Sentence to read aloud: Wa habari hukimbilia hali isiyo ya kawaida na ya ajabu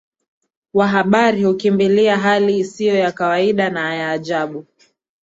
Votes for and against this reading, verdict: 2, 0, accepted